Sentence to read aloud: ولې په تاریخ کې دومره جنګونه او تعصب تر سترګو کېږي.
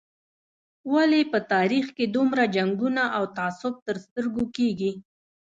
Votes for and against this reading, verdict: 1, 2, rejected